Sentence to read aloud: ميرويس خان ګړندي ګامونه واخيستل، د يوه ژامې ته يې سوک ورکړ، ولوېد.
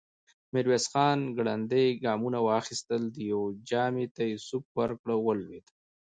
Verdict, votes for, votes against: accepted, 2, 1